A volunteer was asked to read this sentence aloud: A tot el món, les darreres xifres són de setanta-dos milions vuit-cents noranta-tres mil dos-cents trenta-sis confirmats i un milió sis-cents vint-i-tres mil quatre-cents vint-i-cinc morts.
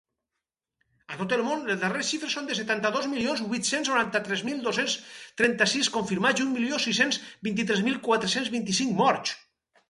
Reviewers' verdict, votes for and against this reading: rejected, 2, 4